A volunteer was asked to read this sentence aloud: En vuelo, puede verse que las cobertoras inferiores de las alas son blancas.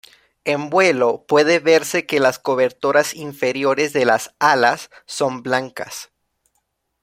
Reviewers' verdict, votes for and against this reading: accepted, 2, 0